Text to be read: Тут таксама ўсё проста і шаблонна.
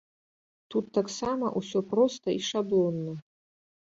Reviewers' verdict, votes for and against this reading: accepted, 2, 0